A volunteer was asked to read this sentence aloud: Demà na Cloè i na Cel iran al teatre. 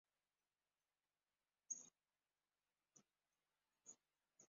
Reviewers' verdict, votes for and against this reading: rejected, 0, 3